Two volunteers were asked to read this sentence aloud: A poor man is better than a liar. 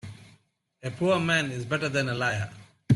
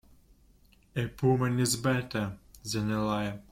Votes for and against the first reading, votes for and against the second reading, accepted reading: 2, 0, 0, 2, first